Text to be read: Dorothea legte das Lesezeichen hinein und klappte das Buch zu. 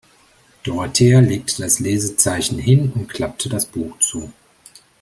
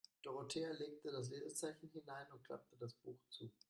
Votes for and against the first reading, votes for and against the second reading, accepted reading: 1, 2, 2, 0, second